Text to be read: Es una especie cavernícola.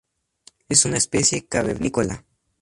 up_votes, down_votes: 2, 0